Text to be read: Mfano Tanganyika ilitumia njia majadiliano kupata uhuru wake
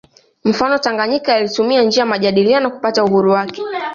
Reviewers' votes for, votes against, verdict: 0, 2, rejected